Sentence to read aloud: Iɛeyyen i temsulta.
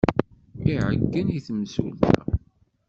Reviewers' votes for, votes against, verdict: 1, 2, rejected